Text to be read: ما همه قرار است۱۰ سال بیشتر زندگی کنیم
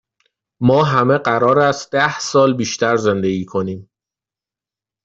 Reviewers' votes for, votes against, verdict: 0, 2, rejected